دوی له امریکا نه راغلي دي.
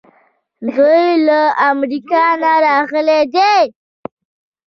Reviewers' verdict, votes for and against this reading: accepted, 2, 0